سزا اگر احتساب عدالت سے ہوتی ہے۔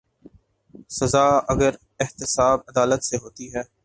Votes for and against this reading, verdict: 2, 0, accepted